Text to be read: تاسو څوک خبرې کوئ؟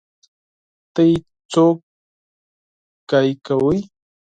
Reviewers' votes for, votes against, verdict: 0, 4, rejected